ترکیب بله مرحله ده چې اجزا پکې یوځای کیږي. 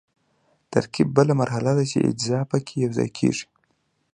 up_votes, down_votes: 2, 1